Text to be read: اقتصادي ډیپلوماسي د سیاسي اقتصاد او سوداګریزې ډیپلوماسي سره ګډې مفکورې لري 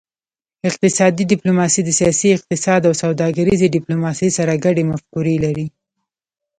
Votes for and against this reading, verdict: 1, 2, rejected